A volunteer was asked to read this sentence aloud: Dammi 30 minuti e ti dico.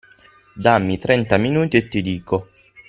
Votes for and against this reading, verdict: 0, 2, rejected